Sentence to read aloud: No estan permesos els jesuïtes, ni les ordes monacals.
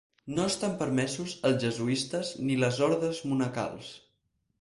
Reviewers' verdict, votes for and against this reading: rejected, 2, 4